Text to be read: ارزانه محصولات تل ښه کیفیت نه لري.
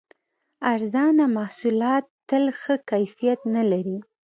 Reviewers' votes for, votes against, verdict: 2, 0, accepted